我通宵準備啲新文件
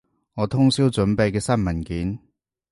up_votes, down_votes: 0, 2